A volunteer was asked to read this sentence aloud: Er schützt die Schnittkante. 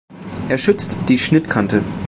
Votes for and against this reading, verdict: 2, 0, accepted